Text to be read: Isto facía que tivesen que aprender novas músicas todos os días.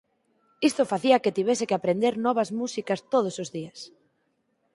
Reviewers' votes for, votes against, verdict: 4, 2, accepted